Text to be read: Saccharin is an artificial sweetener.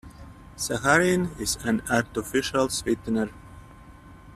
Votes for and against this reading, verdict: 1, 2, rejected